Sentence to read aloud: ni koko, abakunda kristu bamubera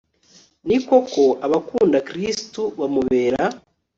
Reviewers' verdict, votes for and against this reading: accepted, 2, 0